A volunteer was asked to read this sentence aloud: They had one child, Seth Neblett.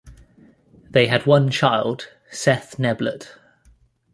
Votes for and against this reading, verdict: 2, 0, accepted